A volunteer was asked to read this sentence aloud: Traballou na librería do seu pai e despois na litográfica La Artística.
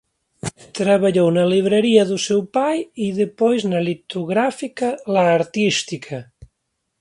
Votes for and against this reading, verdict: 9, 5, accepted